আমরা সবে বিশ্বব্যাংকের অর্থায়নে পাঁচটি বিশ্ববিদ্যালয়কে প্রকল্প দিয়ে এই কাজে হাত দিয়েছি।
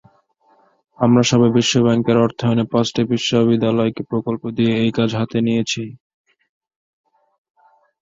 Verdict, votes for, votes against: rejected, 0, 2